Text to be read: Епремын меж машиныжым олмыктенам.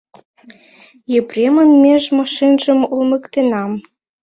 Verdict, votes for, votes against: rejected, 1, 2